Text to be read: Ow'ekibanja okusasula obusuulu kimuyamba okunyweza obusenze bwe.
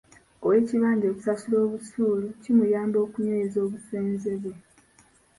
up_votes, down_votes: 2, 1